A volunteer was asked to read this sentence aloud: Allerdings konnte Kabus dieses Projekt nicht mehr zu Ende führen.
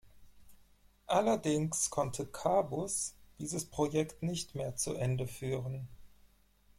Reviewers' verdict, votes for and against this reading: accepted, 4, 0